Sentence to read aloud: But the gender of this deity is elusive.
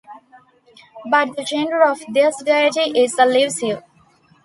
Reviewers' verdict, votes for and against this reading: accepted, 2, 0